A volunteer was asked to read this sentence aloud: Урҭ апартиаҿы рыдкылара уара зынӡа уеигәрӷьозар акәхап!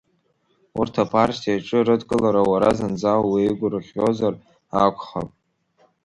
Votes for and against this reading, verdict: 2, 0, accepted